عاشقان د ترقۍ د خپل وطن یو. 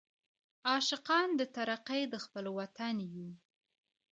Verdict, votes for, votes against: accepted, 2, 0